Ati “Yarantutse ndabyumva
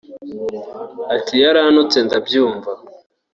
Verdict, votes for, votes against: accepted, 2, 0